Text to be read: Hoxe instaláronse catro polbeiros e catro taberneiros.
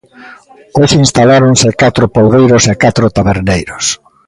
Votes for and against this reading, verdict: 3, 0, accepted